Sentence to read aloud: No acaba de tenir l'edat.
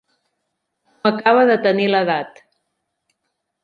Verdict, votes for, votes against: rejected, 0, 2